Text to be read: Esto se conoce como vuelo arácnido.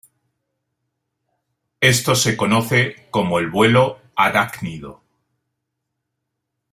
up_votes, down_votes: 0, 2